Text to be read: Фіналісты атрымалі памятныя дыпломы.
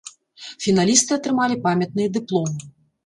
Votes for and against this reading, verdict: 1, 2, rejected